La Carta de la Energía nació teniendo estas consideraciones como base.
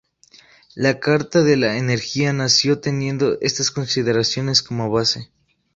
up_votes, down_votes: 2, 0